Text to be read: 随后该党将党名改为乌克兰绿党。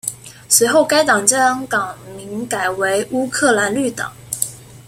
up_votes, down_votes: 2, 0